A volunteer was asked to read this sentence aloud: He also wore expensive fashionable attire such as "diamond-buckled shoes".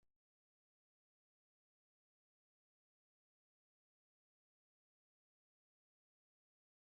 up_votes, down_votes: 1, 2